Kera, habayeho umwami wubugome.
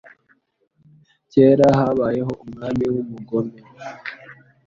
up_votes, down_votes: 2, 0